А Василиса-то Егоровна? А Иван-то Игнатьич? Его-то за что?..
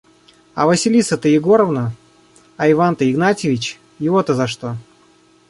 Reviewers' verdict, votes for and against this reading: rejected, 1, 2